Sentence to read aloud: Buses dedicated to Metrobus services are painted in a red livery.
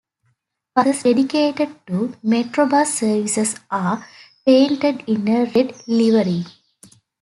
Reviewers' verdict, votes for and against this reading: accepted, 2, 0